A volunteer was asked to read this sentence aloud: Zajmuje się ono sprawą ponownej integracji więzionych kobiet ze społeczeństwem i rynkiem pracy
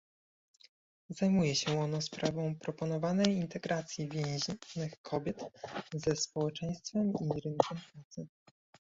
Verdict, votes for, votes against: rejected, 1, 2